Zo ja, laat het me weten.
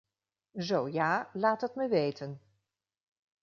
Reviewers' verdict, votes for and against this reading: accepted, 2, 0